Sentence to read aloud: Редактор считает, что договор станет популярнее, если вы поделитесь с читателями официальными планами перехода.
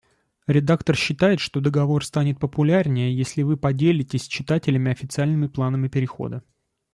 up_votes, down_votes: 2, 0